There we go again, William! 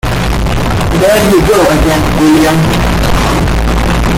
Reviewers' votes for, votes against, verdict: 1, 2, rejected